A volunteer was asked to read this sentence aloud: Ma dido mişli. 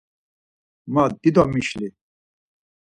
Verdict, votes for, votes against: accepted, 4, 0